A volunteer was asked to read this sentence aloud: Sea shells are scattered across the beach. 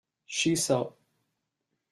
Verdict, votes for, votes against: rejected, 0, 2